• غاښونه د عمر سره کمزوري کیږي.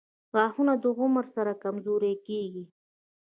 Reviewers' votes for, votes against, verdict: 1, 2, rejected